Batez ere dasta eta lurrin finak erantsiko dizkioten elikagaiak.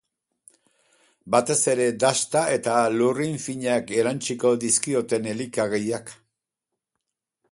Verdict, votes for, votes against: accepted, 8, 0